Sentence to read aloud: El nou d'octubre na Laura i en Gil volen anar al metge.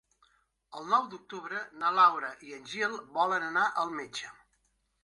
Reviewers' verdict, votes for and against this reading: accepted, 3, 0